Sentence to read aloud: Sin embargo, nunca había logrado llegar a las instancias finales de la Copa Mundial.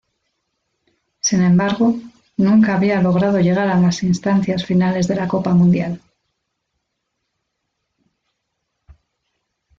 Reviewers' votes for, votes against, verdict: 0, 2, rejected